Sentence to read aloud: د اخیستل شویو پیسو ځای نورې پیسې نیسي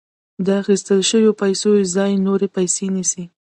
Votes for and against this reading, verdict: 2, 1, accepted